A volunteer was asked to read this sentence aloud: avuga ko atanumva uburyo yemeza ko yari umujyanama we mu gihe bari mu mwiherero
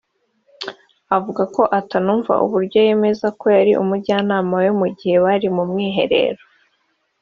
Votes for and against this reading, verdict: 3, 0, accepted